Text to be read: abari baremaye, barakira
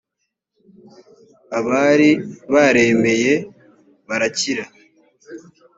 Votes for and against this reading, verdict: 0, 2, rejected